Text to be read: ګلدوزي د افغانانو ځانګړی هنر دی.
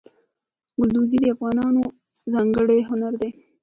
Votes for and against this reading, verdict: 2, 0, accepted